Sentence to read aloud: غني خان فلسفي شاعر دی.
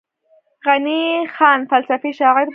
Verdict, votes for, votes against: accepted, 3, 0